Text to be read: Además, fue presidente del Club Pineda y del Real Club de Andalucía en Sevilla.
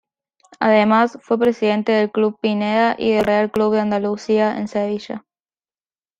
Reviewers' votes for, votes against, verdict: 1, 2, rejected